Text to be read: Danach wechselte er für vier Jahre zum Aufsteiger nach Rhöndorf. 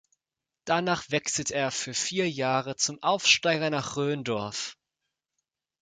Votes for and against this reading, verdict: 2, 0, accepted